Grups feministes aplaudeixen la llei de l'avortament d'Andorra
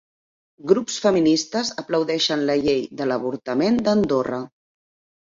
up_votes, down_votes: 4, 0